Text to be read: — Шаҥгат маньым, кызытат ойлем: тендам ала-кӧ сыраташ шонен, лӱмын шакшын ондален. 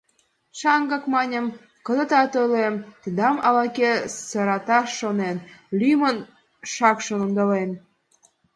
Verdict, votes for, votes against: rejected, 1, 2